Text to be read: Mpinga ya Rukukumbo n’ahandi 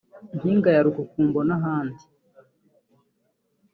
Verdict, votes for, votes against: accepted, 2, 0